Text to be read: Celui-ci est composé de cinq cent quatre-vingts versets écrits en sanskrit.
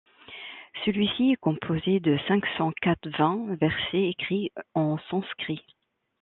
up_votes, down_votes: 0, 2